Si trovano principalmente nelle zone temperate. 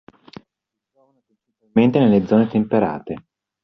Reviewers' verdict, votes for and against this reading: rejected, 0, 2